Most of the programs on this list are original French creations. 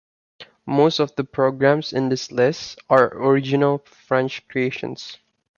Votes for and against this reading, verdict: 1, 2, rejected